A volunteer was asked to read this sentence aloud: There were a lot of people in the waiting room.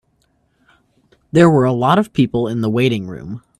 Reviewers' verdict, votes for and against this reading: accepted, 2, 0